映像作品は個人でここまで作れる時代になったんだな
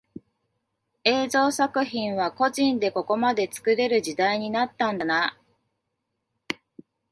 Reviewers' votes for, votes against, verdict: 2, 0, accepted